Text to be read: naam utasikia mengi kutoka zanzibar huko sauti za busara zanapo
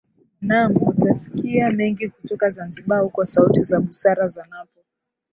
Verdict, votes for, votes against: rejected, 0, 2